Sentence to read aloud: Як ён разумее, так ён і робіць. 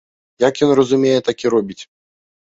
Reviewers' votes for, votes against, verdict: 0, 2, rejected